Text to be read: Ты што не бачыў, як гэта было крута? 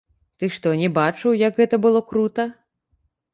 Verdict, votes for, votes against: rejected, 1, 2